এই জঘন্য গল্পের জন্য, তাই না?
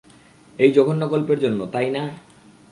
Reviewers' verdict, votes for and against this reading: accepted, 2, 0